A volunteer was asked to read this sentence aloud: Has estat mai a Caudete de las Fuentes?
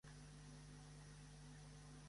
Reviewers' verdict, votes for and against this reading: rejected, 1, 2